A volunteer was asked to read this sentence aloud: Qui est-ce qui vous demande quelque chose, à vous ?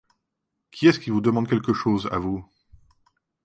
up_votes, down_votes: 2, 0